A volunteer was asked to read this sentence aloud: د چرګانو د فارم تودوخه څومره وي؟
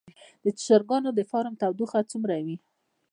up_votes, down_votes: 0, 2